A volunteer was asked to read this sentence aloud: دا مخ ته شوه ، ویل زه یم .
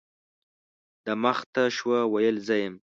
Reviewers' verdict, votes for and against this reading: accepted, 2, 0